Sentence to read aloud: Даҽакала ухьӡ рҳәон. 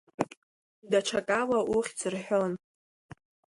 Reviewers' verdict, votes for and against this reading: accepted, 2, 0